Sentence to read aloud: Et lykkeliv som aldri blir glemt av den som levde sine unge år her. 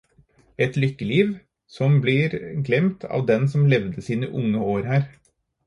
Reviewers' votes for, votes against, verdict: 0, 4, rejected